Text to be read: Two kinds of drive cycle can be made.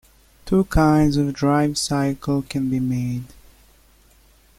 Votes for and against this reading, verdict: 2, 0, accepted